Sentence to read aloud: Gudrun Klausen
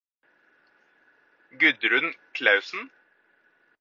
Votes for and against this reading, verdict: 4, 0, accepted